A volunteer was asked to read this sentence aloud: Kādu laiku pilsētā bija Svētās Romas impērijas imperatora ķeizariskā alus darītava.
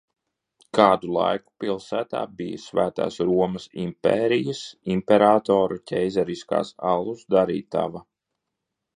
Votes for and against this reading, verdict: 1, 2, rejected